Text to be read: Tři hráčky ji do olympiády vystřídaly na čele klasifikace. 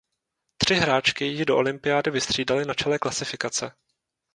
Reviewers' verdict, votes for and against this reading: accepted, 2, 0